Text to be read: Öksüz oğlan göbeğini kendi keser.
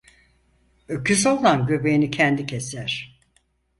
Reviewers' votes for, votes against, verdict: 0, 4, rejected